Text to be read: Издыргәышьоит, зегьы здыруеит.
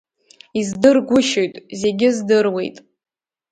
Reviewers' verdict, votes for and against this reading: accepted, 2, 0